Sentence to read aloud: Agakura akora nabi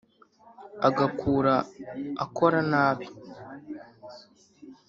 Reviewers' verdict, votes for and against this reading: rejected, 0, 2